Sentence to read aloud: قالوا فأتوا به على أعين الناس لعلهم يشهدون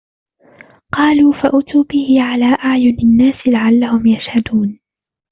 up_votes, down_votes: 1, 2